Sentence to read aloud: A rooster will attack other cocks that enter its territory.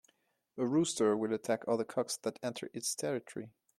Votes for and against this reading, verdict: 2, 0, accepted